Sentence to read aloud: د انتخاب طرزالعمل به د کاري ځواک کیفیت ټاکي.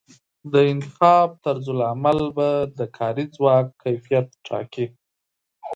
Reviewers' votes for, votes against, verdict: 2, 0, accepted